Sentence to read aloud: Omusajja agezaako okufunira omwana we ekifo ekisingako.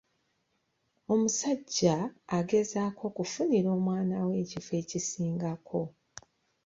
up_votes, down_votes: 2, 0